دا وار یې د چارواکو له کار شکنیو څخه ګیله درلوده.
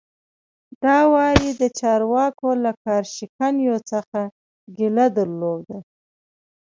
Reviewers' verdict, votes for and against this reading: accepted, 2, 0